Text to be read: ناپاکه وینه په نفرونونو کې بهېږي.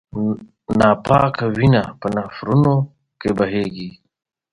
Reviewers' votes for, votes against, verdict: 1, 5, rejected